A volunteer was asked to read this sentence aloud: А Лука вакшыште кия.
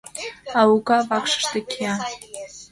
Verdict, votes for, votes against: rejected, 0, 2